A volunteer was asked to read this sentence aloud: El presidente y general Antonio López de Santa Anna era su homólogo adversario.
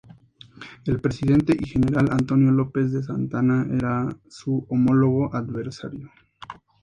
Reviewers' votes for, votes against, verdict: 2, 0, accepted